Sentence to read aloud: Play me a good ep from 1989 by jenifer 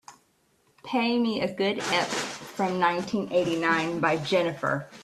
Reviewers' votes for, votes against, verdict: 0, 2, rejected